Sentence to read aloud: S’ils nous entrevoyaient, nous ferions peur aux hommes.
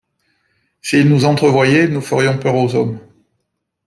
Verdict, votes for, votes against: accepted, 2, 0